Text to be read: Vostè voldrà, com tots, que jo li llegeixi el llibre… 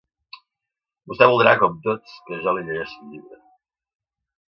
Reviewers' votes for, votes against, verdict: 0, 2, rejected